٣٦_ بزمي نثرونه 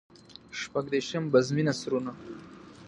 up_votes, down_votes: 0, 2